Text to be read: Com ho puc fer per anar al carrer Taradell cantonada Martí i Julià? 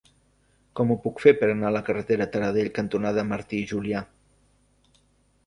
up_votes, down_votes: 0, 2